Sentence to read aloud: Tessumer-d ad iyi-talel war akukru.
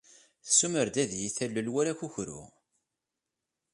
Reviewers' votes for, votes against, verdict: 3, 0, accepted